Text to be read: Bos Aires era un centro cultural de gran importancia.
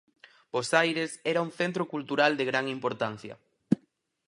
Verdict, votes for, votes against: accepted, 4, 0